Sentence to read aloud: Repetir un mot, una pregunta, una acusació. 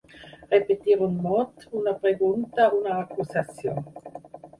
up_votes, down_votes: 2, 4